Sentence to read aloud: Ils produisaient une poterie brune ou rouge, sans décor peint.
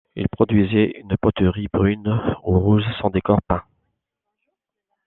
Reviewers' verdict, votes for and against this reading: accepted, 2, 0